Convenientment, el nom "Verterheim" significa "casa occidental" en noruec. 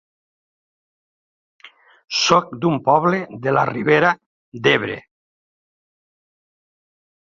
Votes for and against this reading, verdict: 0, 2, rejected